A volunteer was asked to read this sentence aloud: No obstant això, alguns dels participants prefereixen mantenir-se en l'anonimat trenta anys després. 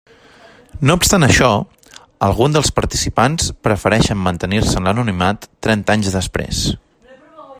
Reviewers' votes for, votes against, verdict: 1, 2, rejected